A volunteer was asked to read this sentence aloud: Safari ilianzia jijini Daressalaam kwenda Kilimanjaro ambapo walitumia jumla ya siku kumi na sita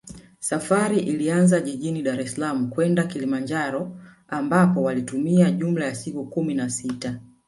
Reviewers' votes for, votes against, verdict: 1, 2, rejected